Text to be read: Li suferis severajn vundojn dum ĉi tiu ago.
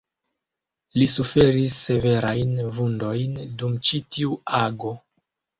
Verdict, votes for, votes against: rejected, 1, 2